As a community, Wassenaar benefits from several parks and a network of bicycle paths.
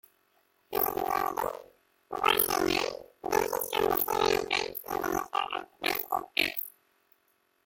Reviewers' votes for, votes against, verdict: 0, 3, rejected